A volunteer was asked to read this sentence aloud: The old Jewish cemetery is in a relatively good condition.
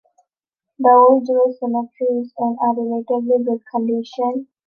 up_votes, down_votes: 2, 1